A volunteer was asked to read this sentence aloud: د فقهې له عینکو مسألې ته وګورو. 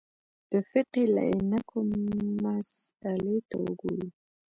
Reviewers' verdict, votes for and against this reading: rejected, 1, 2